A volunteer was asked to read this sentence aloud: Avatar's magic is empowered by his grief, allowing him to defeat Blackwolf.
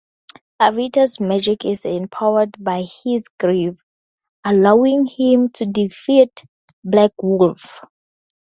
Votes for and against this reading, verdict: 0, 4, rejected